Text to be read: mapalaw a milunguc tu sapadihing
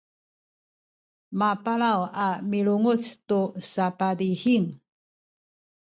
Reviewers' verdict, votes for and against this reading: rejected, 0, 2